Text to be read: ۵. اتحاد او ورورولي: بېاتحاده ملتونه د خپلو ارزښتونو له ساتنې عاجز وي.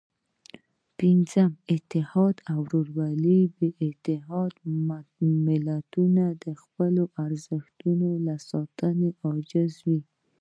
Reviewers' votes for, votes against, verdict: 0, 2, rejected